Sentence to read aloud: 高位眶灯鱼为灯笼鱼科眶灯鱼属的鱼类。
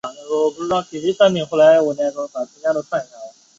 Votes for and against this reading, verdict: 0, 2, rejected